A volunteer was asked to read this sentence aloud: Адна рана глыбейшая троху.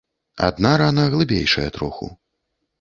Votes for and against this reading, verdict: 2, 0, accepted